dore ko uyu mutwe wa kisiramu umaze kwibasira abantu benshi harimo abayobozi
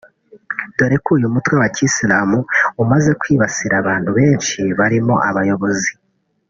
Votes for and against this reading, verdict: 1, 3, rejected